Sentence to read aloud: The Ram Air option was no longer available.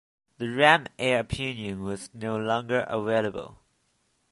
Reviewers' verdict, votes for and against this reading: rejected, 0, 2